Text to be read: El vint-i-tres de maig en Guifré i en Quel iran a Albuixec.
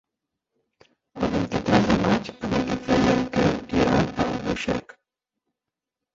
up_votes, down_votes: 0, 4